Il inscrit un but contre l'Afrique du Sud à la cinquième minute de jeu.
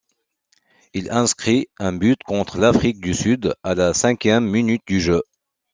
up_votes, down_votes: 0, 2